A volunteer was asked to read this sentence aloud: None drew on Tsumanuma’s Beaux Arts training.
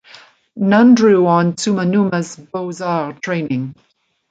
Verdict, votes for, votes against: rejected, 0, 2